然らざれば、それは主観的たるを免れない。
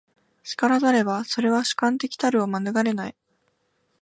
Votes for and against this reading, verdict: 2, 0, accepted